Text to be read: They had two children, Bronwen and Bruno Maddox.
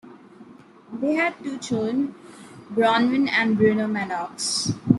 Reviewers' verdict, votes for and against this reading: accepted, 3, 1